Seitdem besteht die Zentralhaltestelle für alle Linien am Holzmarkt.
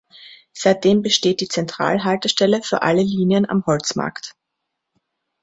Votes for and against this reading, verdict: 2, 0, accepted